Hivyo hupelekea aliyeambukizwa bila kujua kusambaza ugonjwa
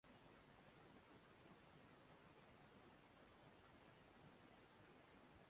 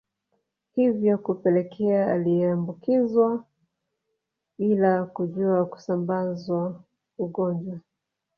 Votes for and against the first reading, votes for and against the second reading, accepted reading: 0, 2, 2, 0, second